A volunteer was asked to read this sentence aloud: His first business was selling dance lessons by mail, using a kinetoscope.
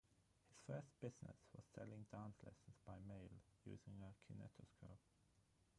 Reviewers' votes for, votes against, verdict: 0, 3, rejected